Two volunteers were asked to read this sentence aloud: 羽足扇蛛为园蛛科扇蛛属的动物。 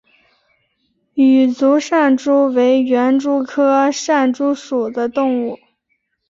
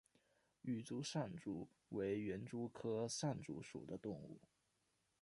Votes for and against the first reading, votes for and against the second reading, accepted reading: 3, 0, 1, 2, first